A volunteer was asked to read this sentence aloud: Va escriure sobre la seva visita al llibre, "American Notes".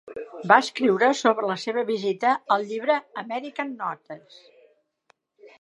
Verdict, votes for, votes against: accepted, 3, 0